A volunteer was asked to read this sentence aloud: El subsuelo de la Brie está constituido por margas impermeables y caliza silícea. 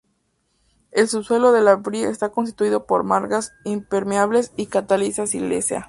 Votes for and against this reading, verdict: 2, 0, accepted